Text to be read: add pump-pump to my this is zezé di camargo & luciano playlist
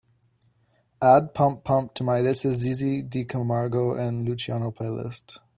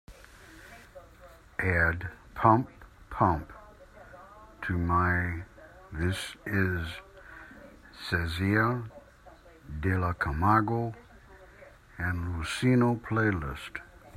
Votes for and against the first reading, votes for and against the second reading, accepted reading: 2, 0, 0, 2, first